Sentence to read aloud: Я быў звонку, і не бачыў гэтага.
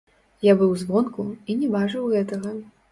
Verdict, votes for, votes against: rejected, 0, 2